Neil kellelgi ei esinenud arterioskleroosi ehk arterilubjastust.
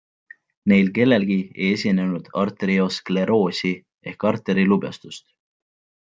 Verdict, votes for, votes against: accepted, 2, 0